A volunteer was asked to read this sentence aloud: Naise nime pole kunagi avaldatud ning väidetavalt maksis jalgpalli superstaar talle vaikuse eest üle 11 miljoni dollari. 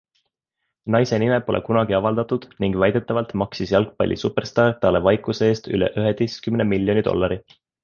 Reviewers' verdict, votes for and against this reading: rejected, 0, 2